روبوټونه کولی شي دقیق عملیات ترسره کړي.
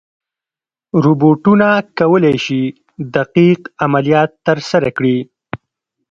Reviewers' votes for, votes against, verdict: 1, 3, rejected